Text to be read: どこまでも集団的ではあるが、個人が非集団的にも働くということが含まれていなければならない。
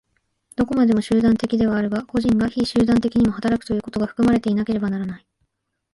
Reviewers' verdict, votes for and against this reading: accepted, 3, 0